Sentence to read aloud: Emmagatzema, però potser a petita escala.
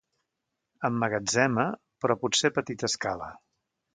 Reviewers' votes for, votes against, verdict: 2, 0, accepted